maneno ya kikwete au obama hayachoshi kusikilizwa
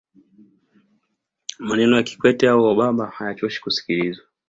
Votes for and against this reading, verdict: 2, 0, accepted